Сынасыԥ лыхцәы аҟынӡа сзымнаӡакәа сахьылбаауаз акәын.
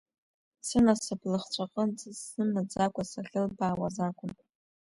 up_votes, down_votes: 1, 2